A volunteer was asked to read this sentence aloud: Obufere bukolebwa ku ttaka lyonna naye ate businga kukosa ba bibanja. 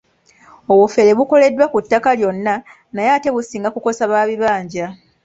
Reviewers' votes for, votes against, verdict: 2, 0, accepted